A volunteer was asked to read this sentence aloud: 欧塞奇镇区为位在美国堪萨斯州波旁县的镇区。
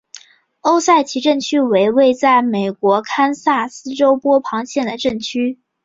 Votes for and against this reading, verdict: 3, 1, accepted